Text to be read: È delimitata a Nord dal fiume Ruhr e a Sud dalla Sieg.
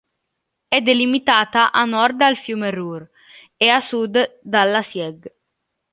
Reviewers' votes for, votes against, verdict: 2, 0, accepted